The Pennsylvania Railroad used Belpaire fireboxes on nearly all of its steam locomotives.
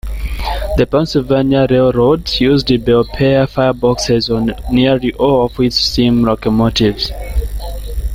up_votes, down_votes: 2, 0